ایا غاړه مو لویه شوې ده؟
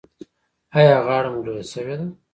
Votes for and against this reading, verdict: 1, 2, rejected